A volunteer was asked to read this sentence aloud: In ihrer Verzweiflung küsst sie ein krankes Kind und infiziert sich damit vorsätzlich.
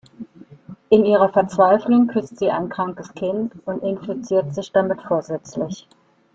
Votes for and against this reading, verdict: 2, 0, accepted